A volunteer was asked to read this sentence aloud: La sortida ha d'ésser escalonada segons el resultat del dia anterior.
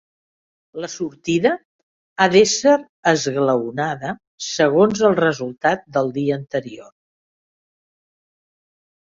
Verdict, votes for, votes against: rejected, 2, 3